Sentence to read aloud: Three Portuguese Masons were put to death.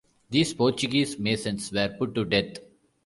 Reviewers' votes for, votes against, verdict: 1, 2, rejected